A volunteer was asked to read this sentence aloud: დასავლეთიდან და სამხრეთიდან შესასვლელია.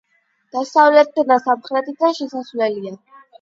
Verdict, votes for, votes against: accepted, 8, 0